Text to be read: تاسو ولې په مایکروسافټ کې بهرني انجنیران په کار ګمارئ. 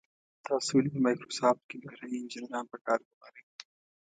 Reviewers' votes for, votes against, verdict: 3, 1, accepted